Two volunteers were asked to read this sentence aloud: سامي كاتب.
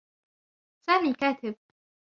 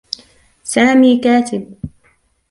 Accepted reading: second